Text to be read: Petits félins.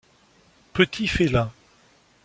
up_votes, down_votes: 2, 0